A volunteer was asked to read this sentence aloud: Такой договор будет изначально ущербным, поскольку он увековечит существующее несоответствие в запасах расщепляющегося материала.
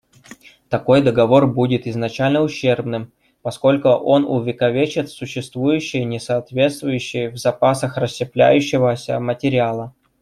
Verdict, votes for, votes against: rejected, 0, 2